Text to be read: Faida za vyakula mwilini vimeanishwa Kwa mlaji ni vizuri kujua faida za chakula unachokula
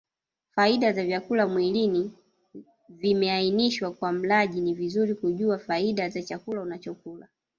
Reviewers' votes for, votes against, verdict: 0, 2, rejected